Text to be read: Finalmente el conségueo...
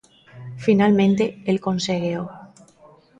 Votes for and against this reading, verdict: 2, 0, accepted